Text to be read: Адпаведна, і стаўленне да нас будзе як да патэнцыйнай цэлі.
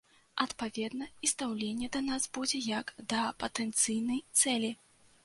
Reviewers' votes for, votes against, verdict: 0, 2, rejected